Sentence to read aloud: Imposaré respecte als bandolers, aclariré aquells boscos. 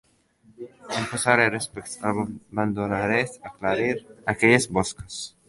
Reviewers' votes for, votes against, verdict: 0, 2, rejected